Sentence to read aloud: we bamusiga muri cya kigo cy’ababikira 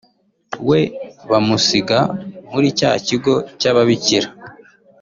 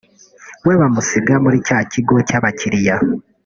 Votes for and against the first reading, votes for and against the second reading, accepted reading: 2, 0, 0, 2, first